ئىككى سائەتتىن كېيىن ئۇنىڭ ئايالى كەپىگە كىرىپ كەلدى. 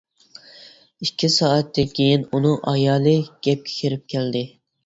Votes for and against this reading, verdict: 0, 2, rejected